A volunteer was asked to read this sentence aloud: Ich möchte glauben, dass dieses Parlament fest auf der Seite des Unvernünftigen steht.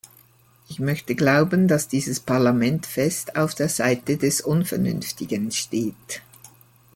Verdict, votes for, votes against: accepted, 2, 0